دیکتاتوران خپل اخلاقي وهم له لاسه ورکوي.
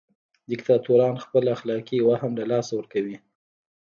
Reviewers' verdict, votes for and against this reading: rejected, 1, 2